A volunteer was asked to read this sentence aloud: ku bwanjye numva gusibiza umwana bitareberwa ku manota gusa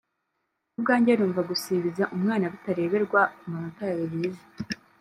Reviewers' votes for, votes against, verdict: 1, 5, rejected